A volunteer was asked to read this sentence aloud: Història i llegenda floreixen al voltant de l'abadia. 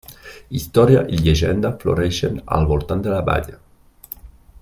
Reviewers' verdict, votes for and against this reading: rejected, 0, 2